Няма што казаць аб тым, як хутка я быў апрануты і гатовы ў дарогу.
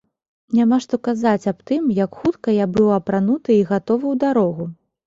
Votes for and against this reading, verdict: 2, 0, accepted